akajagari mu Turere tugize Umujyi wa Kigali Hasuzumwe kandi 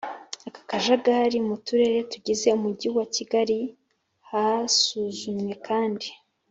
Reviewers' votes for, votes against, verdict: 4, 0, accepted